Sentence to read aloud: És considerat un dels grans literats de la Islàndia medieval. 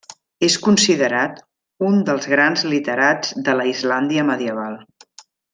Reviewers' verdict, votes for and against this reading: accepted, 3, 0